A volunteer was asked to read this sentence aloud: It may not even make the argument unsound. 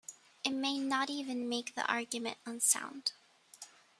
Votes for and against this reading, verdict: 2, 1, accepted